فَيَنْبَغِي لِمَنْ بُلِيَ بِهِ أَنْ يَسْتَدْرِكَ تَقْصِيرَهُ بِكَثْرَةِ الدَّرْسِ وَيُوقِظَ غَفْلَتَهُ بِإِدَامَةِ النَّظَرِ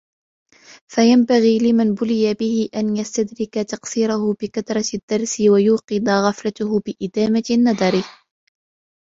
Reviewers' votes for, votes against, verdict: 1, 2, rejected